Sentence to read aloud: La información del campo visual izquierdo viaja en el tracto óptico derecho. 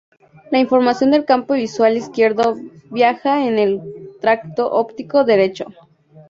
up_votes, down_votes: 0, 2